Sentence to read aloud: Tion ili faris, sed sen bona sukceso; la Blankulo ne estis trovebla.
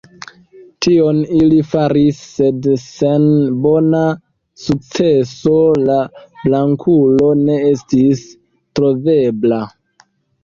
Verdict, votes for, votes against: rejected, 1, 2